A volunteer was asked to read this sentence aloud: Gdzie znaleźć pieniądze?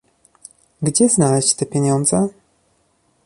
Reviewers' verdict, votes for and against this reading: rejected, 1, 2